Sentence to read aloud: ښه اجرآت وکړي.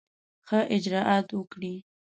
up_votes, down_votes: 2, 0